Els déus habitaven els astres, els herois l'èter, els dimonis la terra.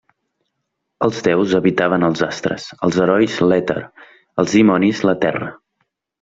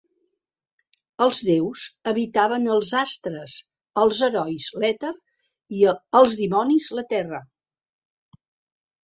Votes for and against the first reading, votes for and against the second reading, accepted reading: 2, 0, 1, 2, first